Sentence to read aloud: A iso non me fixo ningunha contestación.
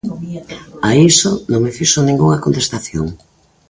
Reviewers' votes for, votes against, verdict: 2, 0, accepted